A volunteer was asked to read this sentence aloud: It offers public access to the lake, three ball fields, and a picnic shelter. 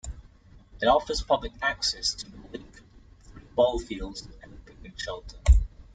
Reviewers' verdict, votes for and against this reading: rejected, 0, 2